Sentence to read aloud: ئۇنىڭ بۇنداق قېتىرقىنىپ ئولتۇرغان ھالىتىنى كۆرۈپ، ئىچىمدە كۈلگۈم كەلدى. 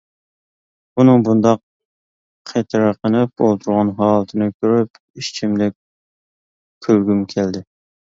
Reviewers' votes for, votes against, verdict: 0, 2, rejected